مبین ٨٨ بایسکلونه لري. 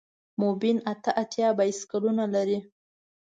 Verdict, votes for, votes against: rejected, 0, 2